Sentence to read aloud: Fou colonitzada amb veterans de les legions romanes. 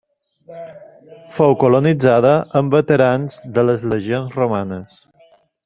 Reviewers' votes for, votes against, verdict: 1, 2, rejected